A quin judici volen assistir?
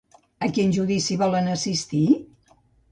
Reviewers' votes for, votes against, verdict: 2, 0, accepted